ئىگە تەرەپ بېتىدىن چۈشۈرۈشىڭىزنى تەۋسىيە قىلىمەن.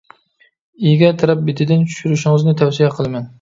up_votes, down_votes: 2, 0